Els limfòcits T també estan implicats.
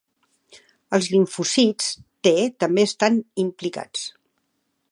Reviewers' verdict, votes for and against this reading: rejected, 0, 2